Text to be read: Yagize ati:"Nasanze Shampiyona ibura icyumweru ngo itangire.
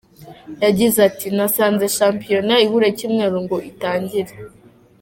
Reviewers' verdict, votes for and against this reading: accepted, 2, 0